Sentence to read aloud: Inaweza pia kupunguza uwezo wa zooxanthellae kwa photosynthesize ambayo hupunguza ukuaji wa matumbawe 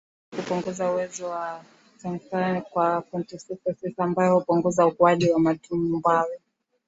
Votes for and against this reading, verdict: 6, 9, rejected